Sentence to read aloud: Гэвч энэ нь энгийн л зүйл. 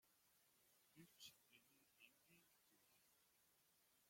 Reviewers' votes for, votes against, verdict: 0, 2, rejected